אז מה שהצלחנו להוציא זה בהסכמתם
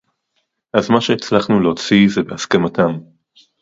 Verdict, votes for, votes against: accepted, 4, 0